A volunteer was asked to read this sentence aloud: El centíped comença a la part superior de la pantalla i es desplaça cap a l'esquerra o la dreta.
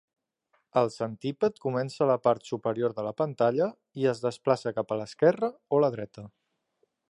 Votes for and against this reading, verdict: 3, 0, accepted